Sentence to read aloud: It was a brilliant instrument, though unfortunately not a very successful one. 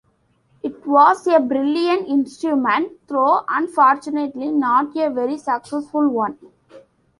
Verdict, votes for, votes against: accepted, 2, 0